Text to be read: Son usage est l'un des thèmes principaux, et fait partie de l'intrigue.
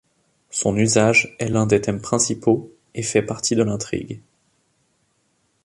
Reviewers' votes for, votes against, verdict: 2, 0, accepted